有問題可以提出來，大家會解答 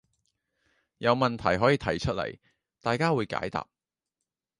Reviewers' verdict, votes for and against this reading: accepted, 3, 0